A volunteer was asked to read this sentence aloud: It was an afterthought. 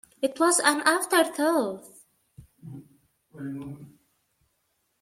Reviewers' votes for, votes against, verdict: 2, 1, accepted